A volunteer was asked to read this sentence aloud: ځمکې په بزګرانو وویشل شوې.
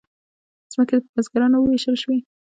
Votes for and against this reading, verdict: 1, 2, rejected